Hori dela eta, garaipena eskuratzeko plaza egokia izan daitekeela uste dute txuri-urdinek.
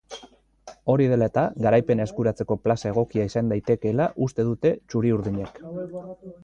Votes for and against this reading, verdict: 2, 0, accepted